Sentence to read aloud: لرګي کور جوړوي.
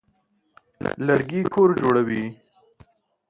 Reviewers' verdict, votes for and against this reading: accepted, 2, 0